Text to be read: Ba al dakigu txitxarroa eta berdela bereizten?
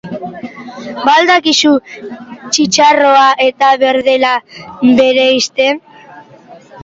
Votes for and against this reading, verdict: 0, 2, rejected